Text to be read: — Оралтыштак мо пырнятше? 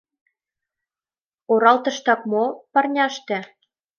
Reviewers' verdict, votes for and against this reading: rejected, 1, 2